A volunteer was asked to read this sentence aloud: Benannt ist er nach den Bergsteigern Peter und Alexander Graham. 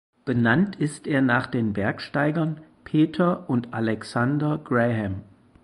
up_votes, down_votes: 4, 0